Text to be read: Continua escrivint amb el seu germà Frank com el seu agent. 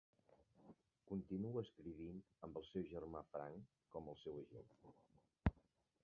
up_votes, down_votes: 0, 2